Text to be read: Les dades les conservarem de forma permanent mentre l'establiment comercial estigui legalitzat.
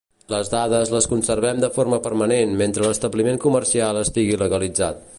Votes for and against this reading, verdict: 0, 2, rejected